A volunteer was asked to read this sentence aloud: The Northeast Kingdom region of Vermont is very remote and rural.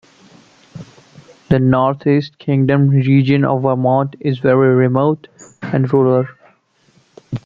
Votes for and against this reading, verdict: 2, 0, accepted